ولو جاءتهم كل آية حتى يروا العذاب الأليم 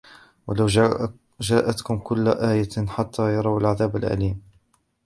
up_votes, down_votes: 0, 2